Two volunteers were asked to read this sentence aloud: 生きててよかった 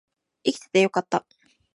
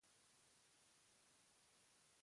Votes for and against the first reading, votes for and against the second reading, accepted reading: 2, 0, 1, 2, first